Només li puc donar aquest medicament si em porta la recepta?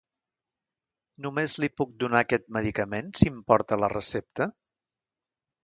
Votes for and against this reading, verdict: 2, 0, accepted